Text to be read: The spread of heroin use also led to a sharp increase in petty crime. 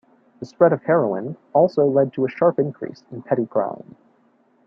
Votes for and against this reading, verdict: 1, 2, rejected